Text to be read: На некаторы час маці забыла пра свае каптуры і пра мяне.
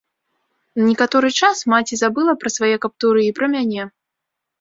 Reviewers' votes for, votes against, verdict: 1, 2, rejected